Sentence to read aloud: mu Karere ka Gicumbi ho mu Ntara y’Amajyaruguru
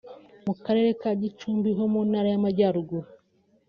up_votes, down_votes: 2, 0